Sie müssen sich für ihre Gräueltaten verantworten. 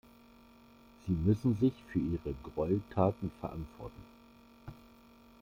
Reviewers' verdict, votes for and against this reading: rejected, 0, 2